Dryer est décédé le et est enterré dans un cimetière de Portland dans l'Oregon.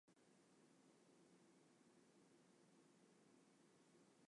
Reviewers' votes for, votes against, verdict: 0, 2, rejected